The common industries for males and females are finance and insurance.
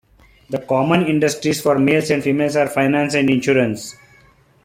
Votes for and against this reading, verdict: 2, 0, accepted